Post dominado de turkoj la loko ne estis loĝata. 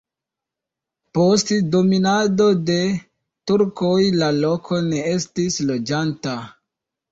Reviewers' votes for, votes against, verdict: 1, 2, rejected